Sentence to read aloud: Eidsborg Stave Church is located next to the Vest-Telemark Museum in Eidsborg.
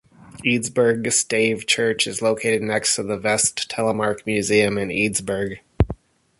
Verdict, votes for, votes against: accepted, 2, 0